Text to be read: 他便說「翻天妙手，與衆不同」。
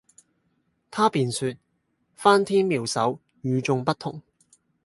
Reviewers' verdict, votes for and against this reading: accepted, 4, 0